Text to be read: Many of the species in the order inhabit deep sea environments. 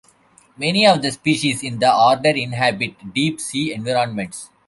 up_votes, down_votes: 0, 2